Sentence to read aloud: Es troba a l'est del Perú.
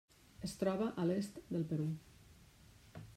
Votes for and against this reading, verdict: 1, 2, rejected